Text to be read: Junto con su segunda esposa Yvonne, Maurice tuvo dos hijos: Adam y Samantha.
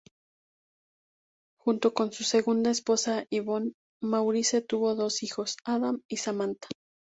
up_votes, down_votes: 2, 0